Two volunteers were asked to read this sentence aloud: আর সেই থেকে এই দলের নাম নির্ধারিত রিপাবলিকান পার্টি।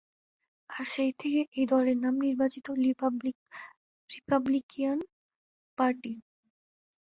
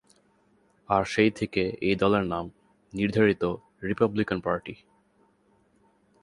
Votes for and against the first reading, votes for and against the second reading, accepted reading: 0, 4, 7, 1, second